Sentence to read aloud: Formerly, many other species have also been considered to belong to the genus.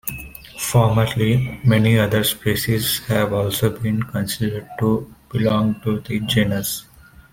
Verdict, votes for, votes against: accepted, 3, 0